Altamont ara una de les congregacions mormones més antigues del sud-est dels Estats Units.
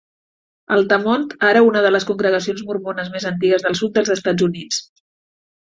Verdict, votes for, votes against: rejected, 1, 2